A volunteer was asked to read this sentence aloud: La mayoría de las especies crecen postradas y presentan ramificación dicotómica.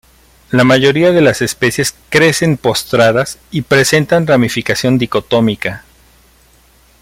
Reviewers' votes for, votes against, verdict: 2, 0, accepted